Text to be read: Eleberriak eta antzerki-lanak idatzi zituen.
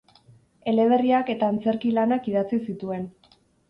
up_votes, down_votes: 4, 0